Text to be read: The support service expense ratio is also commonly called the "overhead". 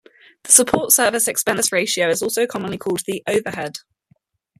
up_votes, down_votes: 2, 0